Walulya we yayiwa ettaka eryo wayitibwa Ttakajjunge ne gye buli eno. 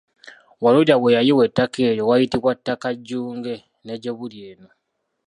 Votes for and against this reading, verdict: 2, 0, accepted